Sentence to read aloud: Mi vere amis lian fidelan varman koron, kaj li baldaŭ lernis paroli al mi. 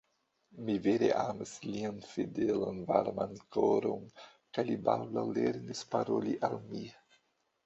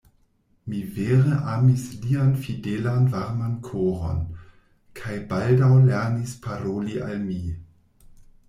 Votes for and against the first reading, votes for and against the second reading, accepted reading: 2, 1, 0, 2, first